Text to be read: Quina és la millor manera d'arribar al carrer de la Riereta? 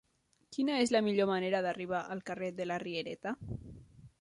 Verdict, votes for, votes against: accepted, 2, 0